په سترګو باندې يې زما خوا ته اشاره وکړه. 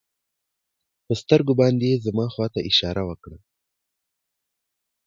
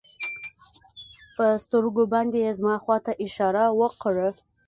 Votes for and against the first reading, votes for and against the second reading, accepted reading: 2, 0, 1, 2, first